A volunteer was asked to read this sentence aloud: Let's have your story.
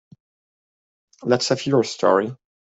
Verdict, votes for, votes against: accepted, 2, 0